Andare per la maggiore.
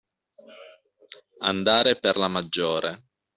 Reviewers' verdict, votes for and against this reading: accepted, 4, 0